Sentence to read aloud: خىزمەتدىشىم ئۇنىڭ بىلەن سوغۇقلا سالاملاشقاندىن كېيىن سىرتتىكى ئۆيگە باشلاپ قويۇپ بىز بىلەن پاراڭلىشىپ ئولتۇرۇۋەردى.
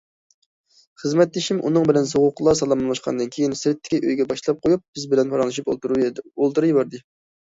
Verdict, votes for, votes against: rejected, 0, 2